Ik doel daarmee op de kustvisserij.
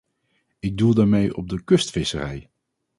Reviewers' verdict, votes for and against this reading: accepted, 4, 0